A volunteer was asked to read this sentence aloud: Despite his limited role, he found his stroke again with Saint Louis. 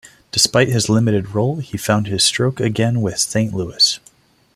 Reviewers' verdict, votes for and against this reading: accepted, 2, 0